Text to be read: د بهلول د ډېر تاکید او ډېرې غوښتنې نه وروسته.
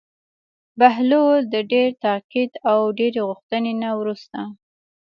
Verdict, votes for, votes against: accepted, 2, 0